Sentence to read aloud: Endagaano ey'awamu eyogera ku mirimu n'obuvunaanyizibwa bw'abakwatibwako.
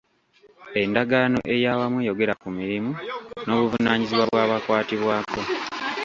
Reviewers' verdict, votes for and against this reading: accepted, 2, 1